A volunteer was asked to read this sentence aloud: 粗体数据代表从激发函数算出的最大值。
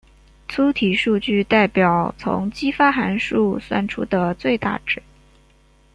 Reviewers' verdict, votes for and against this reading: accepted, 2, 0